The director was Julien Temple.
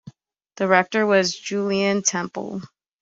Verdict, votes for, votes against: rejected, 0, 2